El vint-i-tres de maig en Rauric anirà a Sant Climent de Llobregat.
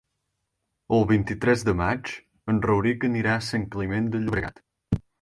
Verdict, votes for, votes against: rejected, 2, 4